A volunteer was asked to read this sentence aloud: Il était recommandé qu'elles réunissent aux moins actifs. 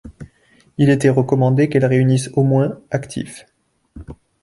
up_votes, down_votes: 2, 0